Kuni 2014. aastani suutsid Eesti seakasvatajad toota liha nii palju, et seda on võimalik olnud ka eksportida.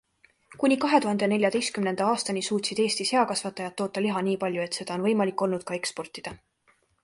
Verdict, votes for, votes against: rejected, 0, 2